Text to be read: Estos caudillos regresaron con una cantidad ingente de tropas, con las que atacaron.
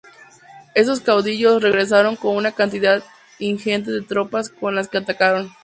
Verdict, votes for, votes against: rejected, 0, 2